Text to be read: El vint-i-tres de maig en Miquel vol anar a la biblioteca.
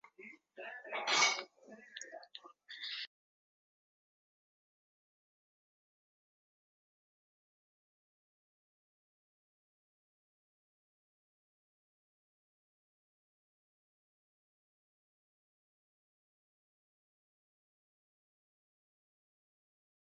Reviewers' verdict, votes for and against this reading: rejected, 0, 2